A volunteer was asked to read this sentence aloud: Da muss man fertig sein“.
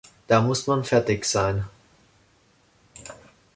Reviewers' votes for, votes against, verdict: 2, 1, accepted